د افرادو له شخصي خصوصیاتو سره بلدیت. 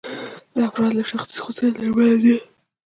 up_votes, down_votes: 0, 2